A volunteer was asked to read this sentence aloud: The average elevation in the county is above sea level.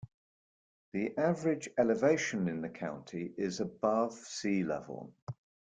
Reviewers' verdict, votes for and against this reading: accepted, 2, 0